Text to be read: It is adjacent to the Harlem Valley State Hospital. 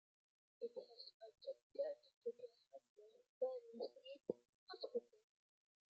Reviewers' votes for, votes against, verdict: 0, 2, rejected